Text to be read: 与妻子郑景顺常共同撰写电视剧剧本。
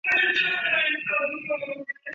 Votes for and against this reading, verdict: 0, 2, rejected